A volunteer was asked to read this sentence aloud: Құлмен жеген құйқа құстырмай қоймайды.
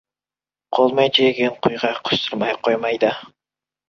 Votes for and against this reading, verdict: 1, 2, rejected